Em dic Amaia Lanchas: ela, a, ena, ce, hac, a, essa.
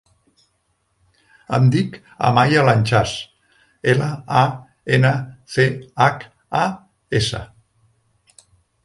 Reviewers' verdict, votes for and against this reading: rejected, 1, 2